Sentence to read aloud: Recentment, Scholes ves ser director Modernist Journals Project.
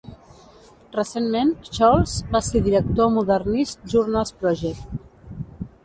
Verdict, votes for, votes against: rejected, 1, 2